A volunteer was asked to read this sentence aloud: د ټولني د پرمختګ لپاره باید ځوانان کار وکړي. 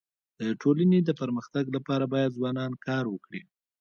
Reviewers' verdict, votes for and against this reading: rejected, 0, 2